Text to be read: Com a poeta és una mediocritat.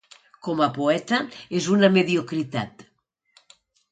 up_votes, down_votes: 2, 0